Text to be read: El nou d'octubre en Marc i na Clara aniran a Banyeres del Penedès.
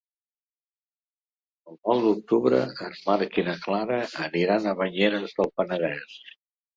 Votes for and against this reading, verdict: 2, 3, rejected